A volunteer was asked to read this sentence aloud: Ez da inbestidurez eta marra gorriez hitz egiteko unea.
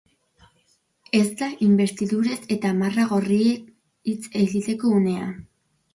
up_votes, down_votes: 0, 2